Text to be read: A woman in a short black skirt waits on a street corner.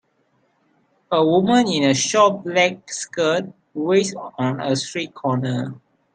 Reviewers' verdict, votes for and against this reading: rejected, 1, 2